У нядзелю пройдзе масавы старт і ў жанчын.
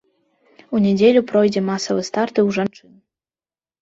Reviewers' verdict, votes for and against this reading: rejected, 1, 3